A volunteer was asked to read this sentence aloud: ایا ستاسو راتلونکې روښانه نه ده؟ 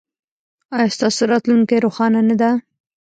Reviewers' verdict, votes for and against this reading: rejected, 0, 2